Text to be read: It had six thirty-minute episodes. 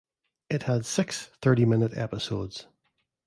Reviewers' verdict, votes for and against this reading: accepted, 2, 0